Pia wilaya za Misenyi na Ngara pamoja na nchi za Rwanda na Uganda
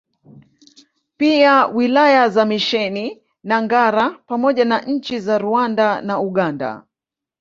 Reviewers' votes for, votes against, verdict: 2, 3, rejected